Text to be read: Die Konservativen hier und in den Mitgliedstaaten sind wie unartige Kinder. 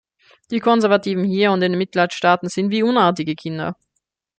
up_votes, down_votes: 1, 2